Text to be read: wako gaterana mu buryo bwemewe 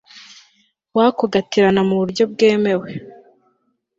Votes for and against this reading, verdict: 3, 0, accepted